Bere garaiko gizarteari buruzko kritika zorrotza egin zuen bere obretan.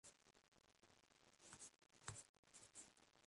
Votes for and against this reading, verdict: 0, 3, rejected